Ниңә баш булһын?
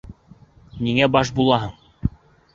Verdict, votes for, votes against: rejected, 0, 2